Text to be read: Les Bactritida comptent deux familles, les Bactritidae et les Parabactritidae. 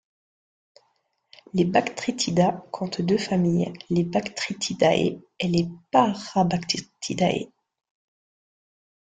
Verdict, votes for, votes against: rejected, 0, 2